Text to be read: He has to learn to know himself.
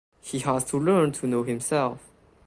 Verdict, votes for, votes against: accepted, 2, 0